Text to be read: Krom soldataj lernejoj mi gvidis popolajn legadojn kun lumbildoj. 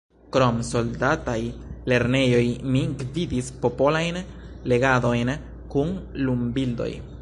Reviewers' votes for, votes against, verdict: 2, 3, rejected